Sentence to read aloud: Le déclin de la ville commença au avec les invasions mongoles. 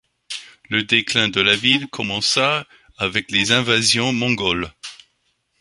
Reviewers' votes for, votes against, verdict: 1, 2, rejected